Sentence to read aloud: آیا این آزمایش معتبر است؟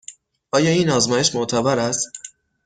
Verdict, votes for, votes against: accepted, 2, 0